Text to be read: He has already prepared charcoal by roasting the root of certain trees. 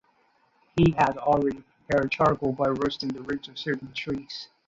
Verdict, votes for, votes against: rejected, 0, 2